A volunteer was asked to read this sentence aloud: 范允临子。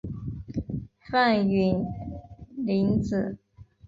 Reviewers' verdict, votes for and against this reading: accepted, 2, 0